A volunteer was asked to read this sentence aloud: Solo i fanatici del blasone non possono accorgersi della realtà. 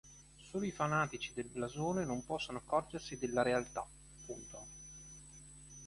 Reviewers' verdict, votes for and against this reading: rejected, 2, 3